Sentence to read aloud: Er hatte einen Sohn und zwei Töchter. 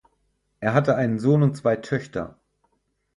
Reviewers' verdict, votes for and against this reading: accepted, 6, 0